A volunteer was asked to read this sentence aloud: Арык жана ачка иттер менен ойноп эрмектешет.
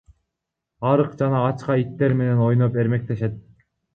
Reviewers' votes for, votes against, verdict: 2, 1, accepted